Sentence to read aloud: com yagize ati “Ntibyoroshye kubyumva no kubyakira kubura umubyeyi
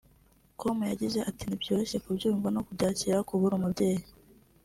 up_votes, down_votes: 3, 0